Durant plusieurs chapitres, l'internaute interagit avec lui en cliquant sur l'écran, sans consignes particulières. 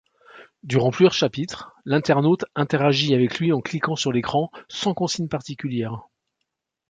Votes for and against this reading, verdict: 2, 1, accepted